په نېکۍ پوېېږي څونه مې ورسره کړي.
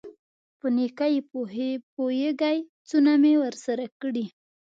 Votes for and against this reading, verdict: 1, 2, rejected